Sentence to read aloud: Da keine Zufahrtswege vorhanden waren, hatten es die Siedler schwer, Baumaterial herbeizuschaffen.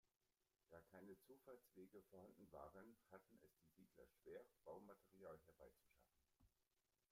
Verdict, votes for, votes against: rejected, 0, 2